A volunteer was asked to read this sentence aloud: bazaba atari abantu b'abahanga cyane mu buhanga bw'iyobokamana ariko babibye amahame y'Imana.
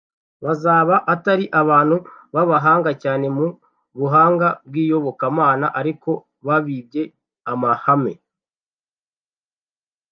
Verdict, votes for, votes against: rejected, 0, 2